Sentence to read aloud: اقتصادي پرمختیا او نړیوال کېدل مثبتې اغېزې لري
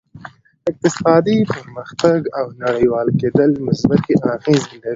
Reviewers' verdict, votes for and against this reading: accepted, 2, 1